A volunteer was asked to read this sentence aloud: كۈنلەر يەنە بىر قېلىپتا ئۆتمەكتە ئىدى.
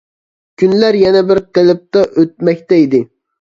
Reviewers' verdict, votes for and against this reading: accepted, 2, 0